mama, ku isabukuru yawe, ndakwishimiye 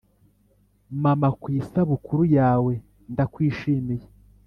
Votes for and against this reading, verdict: 2, 0, accepted